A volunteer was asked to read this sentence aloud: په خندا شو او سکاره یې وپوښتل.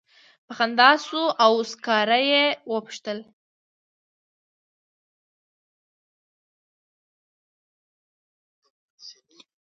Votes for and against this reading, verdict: 0, 2, rejected